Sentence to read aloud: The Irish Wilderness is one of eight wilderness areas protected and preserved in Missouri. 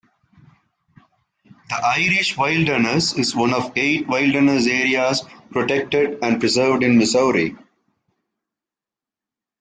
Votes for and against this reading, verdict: 0, 2, rejected